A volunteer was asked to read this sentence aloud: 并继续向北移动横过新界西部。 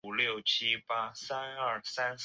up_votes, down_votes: 0, 4